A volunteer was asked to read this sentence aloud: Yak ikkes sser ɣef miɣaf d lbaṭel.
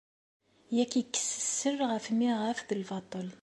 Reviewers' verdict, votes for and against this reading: accepted, 2, 0